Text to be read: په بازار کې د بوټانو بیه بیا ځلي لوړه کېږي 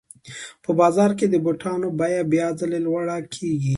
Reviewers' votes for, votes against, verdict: 2, 0, accepted